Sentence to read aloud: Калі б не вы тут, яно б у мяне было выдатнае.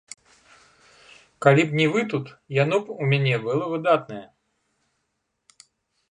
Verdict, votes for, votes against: rejected, 0, 2